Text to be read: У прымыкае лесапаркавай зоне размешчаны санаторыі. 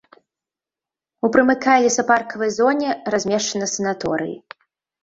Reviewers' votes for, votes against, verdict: 0, 2, rejected